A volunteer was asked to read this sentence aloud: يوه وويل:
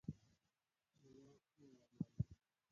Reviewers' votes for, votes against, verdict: 1, 6, rejected